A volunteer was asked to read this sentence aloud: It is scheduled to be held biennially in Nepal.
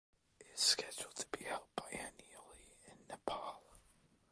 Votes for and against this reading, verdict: 0, 2, rejected